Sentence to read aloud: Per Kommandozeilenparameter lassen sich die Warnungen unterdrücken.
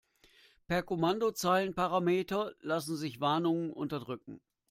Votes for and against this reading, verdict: 0, 2, rejected